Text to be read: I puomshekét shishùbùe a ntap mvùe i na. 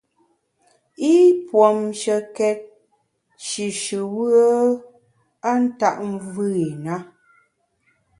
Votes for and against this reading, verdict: 2, 0, accepted